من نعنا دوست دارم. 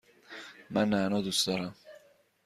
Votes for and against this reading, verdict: 2, 0, accepted